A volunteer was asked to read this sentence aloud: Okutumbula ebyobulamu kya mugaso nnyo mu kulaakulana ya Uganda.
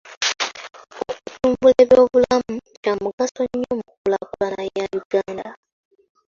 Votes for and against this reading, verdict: 0, 2, rejected